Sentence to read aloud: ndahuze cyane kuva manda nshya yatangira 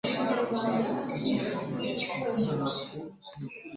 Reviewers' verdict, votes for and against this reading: rejected, 0, 2